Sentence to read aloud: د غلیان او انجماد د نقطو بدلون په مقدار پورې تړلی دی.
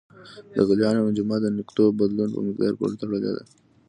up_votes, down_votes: 2, 0